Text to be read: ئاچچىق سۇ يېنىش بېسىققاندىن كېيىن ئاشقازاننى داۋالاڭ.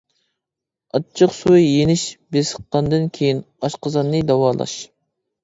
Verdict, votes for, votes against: rejected, 1, 2